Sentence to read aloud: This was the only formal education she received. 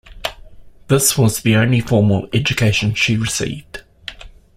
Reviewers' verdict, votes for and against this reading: accepted, 2, 0